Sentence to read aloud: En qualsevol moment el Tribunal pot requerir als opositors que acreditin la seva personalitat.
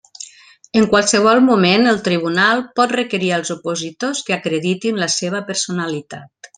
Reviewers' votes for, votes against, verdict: 3, 0, accepted